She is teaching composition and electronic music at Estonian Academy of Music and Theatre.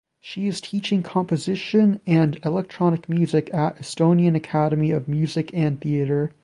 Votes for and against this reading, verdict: 2, 0, accepted